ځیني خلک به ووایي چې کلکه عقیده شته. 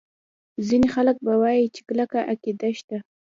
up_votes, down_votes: 1, 2